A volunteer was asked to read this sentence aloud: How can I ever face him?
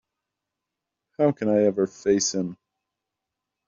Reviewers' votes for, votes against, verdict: 3, 0, accepted